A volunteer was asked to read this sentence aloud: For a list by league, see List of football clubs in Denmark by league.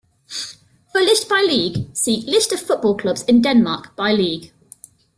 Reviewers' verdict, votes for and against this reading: rejected, 1, 2